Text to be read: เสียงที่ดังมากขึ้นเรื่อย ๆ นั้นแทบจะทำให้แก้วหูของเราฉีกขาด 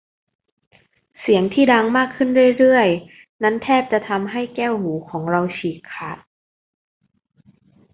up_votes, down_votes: 2, 0